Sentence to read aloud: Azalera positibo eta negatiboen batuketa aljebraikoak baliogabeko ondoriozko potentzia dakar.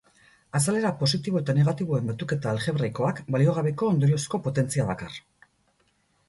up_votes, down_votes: 0, 2